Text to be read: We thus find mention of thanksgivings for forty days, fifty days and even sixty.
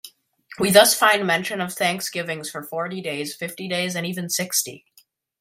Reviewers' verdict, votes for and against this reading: accepted, 2, 1